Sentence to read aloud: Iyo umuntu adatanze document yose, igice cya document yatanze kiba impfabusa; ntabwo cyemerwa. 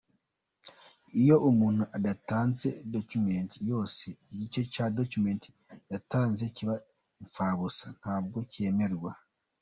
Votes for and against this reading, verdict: 2, 1, accepted